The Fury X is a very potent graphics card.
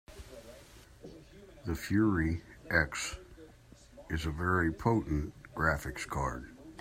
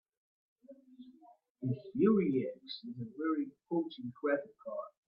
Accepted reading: first